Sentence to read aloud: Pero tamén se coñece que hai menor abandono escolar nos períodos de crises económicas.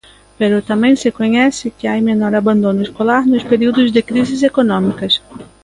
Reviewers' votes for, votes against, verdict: 2, 1, accepted